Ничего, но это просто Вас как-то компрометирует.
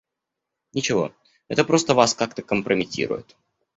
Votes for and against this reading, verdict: 1, 2, rejected